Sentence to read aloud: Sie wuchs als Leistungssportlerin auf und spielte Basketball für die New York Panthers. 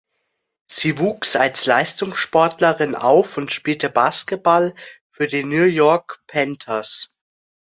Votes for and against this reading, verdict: 2, 0, accepted